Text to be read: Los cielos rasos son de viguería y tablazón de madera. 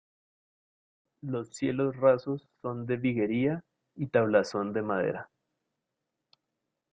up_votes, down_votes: 0, 2